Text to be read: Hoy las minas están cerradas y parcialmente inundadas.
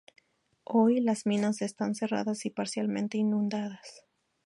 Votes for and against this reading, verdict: 2, 0, accepted